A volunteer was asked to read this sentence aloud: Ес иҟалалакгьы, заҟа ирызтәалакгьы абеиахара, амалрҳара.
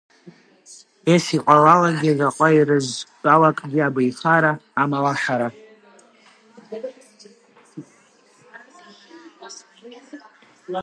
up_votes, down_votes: 0, 3